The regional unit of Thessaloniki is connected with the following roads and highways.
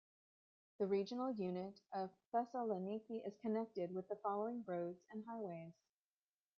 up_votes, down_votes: 0, 2